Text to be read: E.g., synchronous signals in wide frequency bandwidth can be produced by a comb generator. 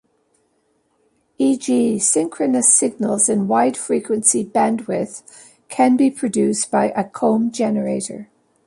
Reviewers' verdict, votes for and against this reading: accepted, 2, 0